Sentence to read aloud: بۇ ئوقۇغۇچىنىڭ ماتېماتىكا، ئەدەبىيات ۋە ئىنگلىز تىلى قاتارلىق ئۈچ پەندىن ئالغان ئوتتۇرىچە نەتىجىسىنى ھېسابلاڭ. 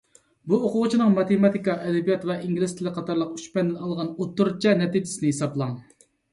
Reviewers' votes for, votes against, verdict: 2, 0, accepted